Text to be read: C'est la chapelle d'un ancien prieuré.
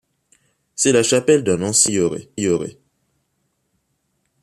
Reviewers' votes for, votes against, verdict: 1, 2, rejected